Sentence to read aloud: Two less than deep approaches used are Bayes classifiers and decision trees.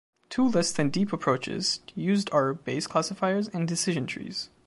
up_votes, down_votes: 2, 0